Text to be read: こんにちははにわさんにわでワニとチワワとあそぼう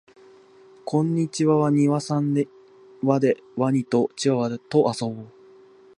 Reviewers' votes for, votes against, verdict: 1, 2, rejected